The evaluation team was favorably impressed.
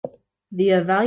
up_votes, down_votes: 0, 2